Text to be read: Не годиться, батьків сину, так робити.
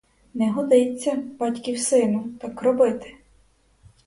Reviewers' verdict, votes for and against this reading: accepted, 4, 0